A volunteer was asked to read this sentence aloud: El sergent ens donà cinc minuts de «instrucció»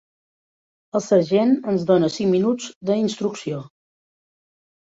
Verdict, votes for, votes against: rejected, 0, 2